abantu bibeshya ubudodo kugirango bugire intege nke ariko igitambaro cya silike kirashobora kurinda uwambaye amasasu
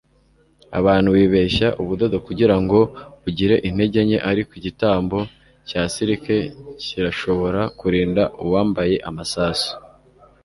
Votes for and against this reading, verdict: 1, 2, rejected